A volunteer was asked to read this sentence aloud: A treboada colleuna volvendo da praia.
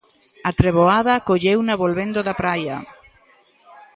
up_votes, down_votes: 2, 0